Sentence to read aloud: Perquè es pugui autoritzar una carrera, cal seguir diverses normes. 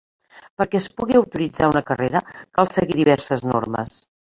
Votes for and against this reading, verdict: 0, 2, rejected